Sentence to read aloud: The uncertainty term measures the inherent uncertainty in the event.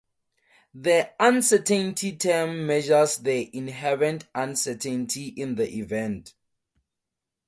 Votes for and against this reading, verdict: 4, 0, accepted